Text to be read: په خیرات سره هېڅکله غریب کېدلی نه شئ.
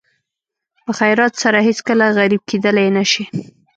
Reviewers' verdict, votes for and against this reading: rejected, 0, 2